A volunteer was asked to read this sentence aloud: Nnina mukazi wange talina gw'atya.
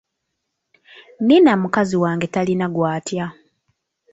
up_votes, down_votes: 0, 2